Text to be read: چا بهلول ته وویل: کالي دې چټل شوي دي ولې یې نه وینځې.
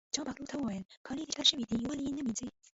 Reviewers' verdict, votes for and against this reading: rejected, 1, 2